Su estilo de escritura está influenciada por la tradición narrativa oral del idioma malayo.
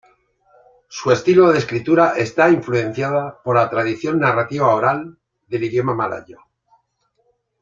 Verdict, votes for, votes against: accepted, 2, 0